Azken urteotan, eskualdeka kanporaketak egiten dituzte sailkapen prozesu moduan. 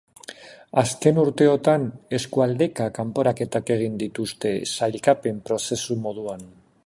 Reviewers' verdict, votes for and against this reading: rejected, 0, 3